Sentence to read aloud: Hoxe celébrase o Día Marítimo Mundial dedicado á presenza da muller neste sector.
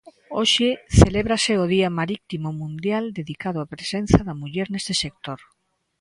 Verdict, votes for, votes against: rejected, 1, 2